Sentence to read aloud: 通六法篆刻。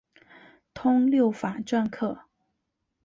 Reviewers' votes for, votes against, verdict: 3, 1, accepted